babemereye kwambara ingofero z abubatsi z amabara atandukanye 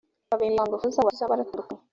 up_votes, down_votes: 1, 2